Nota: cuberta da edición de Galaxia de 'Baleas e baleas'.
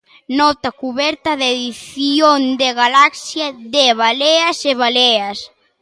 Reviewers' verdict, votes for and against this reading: rejected, 0, 2